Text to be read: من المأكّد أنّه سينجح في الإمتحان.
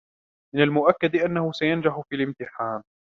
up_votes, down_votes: 2, 0